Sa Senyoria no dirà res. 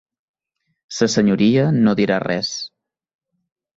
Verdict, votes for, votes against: accepted, 4, 0